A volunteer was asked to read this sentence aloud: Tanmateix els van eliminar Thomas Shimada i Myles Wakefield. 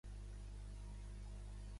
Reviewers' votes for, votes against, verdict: 0, 2, rejected